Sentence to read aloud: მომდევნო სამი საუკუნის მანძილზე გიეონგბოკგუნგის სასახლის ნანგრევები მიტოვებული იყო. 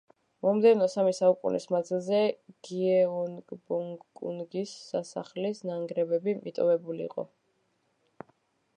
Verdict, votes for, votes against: rejected, 1, 2